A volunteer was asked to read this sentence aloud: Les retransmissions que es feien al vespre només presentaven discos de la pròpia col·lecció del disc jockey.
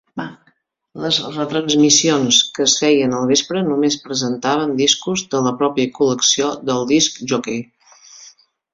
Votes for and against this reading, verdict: 2, 1, accepted